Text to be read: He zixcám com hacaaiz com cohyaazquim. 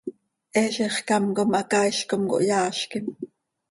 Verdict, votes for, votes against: accepted, 2, 0